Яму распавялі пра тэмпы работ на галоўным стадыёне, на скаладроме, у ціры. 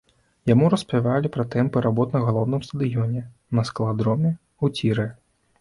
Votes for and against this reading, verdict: 0, 2, rejected